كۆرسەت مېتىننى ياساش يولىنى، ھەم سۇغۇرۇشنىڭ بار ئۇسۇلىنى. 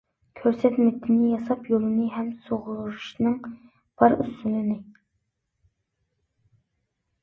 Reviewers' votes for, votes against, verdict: 0, 2, rejected